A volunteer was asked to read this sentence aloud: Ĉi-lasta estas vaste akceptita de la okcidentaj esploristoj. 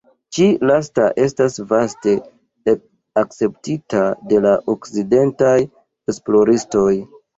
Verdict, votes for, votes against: rejected, 1, 2